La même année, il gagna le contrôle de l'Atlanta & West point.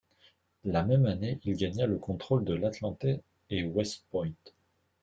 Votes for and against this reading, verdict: 2, 0, accepted